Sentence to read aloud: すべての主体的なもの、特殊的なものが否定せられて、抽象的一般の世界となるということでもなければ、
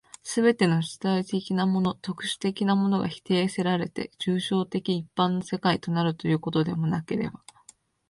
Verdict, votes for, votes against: accepted, 2, 1